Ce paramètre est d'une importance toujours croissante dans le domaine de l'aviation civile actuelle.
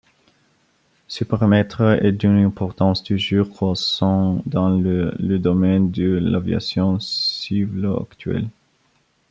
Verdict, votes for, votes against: rejected, 1, 2